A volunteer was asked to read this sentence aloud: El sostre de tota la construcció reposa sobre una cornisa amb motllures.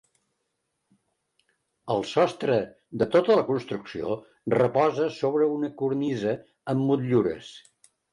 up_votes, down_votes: 3, 0